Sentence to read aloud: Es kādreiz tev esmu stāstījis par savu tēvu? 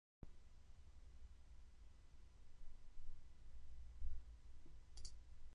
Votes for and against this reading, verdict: 0, 2, rejected